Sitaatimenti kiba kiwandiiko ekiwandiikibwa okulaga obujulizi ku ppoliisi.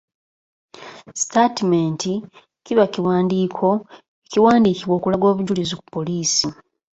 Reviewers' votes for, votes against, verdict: 3, 1, accepted